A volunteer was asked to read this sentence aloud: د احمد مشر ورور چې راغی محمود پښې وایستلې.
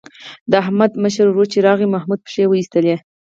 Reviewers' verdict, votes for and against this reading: rejected, 2, 4